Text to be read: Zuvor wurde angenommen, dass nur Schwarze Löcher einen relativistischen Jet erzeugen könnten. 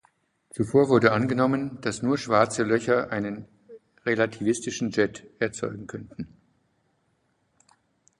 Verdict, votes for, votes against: accepted, 2, 0